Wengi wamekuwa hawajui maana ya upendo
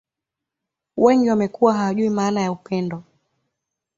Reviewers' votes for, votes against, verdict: 2, 0, accepted